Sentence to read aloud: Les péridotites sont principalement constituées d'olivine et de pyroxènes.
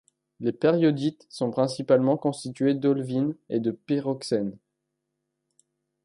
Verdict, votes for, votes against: rejected, 0, 2